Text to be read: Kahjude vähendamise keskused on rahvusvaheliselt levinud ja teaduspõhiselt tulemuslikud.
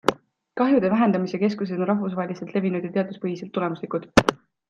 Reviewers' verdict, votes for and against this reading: accepted, 2, 0